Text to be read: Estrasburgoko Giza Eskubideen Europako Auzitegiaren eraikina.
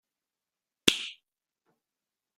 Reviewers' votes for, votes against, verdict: 0, 2, rejected